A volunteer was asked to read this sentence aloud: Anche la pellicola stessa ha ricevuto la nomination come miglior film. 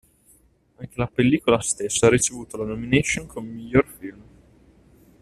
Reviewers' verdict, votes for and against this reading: rejected, 0, 2